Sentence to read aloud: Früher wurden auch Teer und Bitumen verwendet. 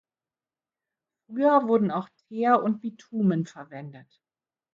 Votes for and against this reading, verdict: 0, 2, rejected